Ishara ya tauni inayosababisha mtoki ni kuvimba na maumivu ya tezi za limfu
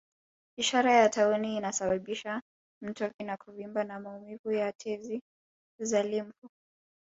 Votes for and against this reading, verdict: 1, 2, rejected